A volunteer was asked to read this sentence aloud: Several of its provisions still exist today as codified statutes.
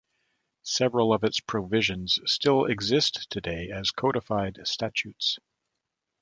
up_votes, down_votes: 2, 0